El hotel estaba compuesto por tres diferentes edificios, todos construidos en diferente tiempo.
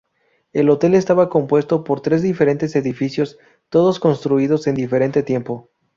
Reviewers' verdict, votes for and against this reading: accepted, 2, 0